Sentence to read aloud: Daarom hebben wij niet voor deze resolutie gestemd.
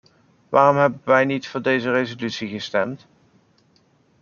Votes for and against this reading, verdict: 1, 2, rejected